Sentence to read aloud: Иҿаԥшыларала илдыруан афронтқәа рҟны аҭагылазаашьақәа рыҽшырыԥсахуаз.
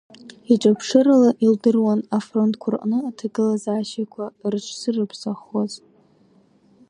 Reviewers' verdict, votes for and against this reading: rejected, 0, 2